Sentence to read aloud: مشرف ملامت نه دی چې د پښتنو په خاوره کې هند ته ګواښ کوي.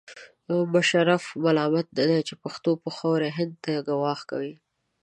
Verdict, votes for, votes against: rejected, 1, 2